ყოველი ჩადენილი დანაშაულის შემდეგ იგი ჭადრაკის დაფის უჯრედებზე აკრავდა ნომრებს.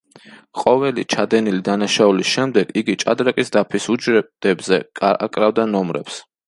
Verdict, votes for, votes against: rejected, 0, 2